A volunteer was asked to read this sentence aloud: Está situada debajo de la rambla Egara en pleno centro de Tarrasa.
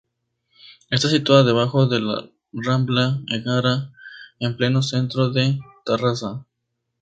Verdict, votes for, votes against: accepted, 2, 0